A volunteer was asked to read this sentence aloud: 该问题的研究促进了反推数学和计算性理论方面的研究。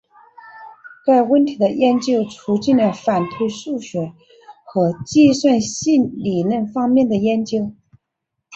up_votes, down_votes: 1, 2